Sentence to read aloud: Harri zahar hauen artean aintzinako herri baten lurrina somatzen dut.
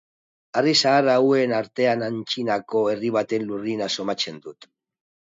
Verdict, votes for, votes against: accepted, 2, 0